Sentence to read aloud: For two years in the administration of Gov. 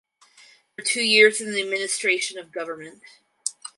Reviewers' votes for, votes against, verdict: 2, 4, rejected